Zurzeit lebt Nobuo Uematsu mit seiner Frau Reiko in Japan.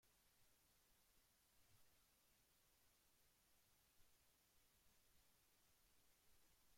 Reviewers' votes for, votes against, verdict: 0, 2, rejected